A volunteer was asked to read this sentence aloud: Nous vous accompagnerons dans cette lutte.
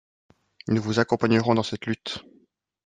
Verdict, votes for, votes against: accepted, 2, 0